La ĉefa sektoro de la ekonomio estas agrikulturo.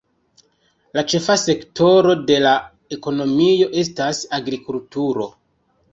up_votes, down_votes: 2, 0